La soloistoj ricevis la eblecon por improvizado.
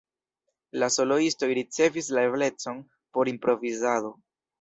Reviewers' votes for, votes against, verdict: 2, 0, accepted